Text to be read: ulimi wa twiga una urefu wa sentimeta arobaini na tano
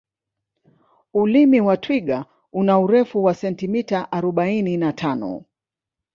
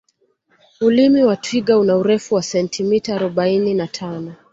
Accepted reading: second